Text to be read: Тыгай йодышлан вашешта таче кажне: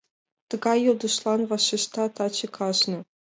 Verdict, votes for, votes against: accepted, 2, 0